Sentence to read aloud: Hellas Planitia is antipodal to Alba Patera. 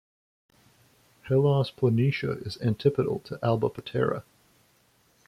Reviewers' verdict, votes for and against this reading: rejected, 1, 2